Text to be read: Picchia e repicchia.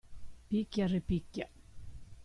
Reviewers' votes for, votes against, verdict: 1, 2, rejected